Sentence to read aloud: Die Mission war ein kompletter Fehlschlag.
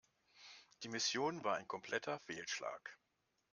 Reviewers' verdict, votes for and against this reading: accepted, 2, 0